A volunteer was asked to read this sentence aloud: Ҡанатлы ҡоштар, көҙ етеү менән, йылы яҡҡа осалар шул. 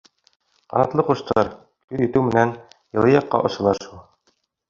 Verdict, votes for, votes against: rejected, 1, 2